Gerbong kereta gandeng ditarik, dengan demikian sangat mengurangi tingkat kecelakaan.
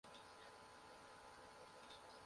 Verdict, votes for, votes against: rejected, 0, 2